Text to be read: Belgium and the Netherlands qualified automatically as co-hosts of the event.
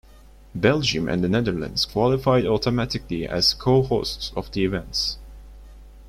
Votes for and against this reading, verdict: 0, 2, rejected